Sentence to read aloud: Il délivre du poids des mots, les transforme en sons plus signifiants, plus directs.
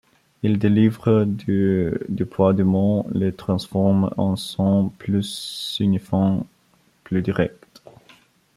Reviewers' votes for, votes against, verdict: 0, 2, rejected